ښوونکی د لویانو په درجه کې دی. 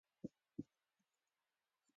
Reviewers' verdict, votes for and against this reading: rejected, 0, 2